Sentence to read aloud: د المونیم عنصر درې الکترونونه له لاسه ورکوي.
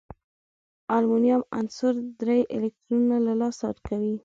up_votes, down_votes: 2, 0